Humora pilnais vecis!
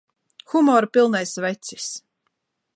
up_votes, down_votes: 2, 0